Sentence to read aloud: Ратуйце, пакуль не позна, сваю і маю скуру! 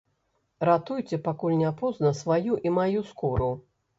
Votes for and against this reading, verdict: 1, 2, rejected